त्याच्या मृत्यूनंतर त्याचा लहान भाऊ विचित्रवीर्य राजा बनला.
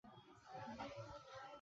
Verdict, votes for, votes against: rejected, 0, 2